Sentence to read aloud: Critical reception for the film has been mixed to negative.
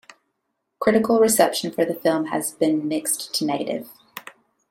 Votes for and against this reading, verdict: 2, 0, accepted